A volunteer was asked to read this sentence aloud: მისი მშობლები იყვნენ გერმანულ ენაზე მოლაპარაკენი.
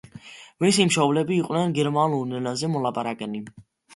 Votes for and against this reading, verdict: 2, 1, accepted